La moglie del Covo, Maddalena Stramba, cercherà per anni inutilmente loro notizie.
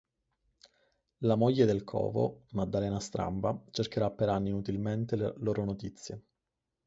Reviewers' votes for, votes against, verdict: 4, 0, accepted